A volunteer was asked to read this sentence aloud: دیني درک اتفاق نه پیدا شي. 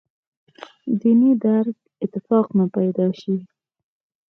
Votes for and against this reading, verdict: 4, 0, accepted